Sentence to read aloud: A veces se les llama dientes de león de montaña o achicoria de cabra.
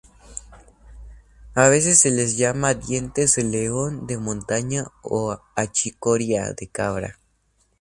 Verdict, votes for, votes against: accepted, 2, 0